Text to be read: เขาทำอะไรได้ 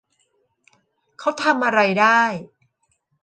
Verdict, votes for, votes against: rejected, 1, 2